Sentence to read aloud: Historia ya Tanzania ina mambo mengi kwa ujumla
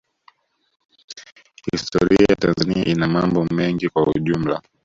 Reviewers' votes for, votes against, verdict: 0, 2, rejected